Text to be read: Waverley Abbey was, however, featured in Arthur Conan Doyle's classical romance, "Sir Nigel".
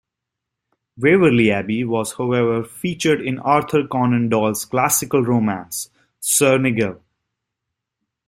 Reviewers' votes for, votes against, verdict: 1, 2, rejected